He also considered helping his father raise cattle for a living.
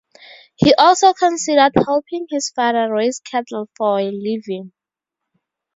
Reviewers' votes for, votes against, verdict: 2, 0, accepted